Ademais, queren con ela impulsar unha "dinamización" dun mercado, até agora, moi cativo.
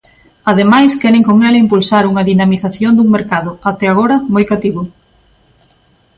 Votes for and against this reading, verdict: 2, 0, accepted